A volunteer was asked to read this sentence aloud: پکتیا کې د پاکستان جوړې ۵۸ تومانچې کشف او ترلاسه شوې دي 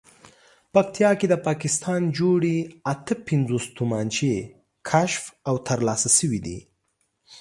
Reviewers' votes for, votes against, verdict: 0, 2, rejected